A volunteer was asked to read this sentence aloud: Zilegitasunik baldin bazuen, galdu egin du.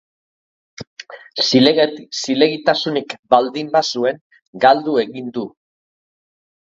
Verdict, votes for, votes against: rejected, 1, 2